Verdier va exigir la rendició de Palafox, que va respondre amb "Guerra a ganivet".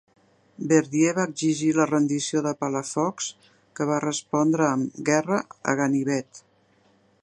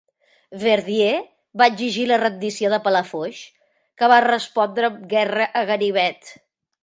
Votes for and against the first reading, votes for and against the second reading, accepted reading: 2, 0, 0, 2, first